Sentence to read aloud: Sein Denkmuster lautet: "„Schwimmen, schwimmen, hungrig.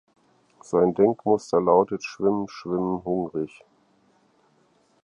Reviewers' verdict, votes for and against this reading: accepted, 4, 0